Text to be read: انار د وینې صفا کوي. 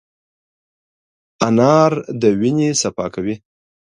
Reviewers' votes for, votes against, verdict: 2, 0, accepted